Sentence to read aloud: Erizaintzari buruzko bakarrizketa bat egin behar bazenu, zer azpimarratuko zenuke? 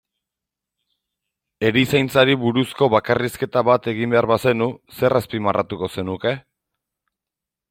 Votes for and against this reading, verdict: 2, 0, accepted